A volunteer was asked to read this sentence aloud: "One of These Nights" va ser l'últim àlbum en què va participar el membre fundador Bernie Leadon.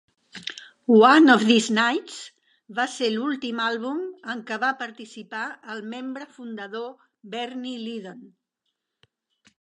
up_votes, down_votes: 2, 0